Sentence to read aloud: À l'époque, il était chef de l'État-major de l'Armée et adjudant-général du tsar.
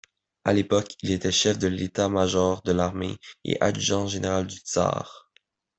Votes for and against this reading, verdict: 2, 0, accepted